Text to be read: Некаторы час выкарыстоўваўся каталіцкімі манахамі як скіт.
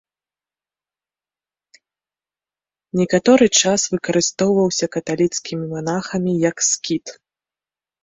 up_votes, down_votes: 2, 0